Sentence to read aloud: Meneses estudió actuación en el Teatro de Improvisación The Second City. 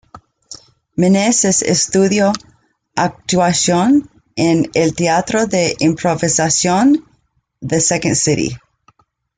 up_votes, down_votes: 2, 0